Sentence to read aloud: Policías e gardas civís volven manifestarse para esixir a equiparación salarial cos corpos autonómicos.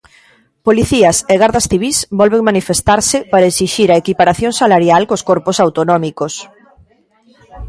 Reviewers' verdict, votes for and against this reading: accepted, 2, 0